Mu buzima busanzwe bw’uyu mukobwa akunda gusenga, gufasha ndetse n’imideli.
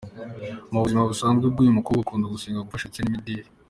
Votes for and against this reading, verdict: 2, 1, accepted